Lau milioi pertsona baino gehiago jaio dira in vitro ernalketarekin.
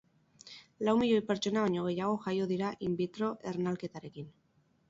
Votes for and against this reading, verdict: 6, 0, accepted